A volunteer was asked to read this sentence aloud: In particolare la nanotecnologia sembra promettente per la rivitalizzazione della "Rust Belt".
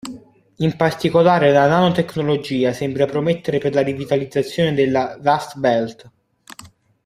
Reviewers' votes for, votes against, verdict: 1, 2, rejected